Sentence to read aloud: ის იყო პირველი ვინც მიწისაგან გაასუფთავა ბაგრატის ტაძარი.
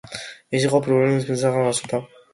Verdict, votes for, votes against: rejected, 1, 2